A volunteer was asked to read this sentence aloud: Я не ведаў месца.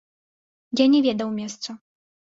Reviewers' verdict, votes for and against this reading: accepted, 2, 0